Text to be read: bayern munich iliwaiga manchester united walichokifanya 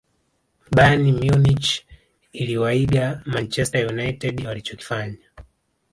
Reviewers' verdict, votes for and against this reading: accepted, 3, 1